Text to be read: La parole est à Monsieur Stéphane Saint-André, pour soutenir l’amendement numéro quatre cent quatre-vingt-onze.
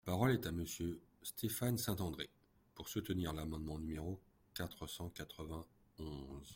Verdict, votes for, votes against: accepted, 2, 0